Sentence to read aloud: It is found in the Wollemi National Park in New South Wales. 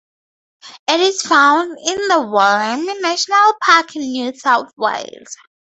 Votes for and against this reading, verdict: 0, 2, rejected